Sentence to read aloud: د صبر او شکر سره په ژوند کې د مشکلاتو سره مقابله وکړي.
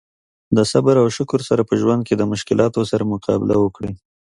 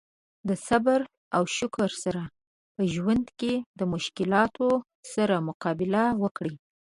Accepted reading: first